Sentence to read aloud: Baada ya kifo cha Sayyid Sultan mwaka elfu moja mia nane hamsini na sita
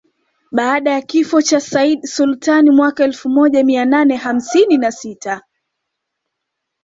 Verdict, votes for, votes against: accepted, 2, 0